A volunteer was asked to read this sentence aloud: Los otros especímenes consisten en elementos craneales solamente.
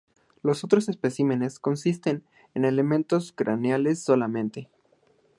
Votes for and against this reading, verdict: 2, 0, accepted